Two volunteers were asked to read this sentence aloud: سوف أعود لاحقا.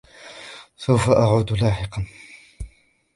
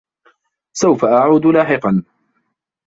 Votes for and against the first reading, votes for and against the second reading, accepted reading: 2, 0, 1, 2, first